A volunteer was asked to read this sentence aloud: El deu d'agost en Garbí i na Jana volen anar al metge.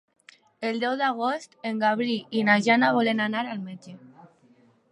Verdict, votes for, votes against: rejected, 1, 3